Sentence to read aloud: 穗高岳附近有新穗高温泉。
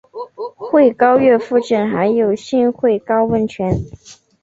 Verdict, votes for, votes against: accepted, 6, 0